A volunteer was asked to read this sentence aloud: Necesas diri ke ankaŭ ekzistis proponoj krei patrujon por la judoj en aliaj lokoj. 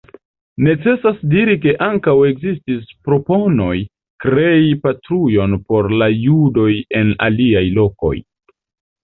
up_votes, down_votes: 2, 1